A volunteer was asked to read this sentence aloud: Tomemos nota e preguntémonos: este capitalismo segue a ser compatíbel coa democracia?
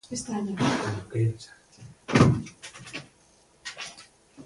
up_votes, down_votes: 0, 2